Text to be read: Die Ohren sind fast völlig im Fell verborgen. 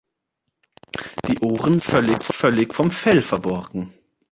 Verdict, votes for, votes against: rejected, 0, 3